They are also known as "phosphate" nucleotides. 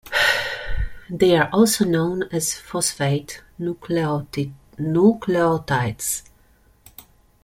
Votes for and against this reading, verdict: 0, 2, rejected